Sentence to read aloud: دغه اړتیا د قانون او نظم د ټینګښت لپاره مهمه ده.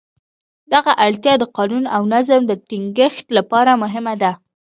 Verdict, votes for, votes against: rejected, 1, 2